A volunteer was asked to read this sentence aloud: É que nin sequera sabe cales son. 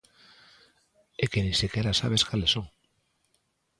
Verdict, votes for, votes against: rejected, 0, 2